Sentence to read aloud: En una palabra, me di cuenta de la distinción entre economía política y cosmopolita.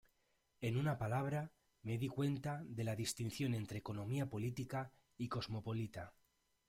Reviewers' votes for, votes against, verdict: 0, 2, rejected